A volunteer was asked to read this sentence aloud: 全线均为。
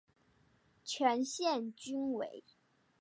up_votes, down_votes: 2, 0